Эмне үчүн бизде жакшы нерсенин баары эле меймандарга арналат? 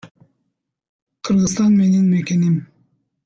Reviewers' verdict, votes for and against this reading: rejected, 1, 2